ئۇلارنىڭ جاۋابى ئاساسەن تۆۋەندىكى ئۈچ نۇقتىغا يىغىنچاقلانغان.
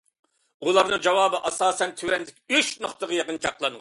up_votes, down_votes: 2, 0